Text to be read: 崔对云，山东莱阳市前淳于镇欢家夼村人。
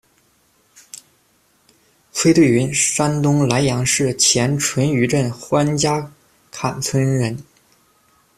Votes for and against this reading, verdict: 1, 2, rejected